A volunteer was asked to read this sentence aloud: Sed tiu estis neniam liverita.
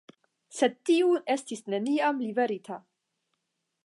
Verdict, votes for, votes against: accepted, 10, 0